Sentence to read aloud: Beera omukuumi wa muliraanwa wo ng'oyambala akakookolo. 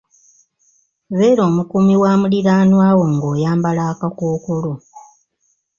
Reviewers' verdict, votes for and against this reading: accepted, 2, 0